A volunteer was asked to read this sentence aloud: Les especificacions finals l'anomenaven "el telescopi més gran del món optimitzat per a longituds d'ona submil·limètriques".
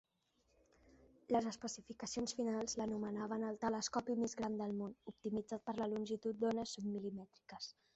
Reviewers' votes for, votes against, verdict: 1, 2, rejected